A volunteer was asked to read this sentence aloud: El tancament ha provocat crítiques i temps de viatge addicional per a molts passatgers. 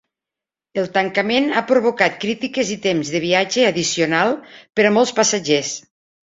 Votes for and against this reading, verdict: 3, 0, accepted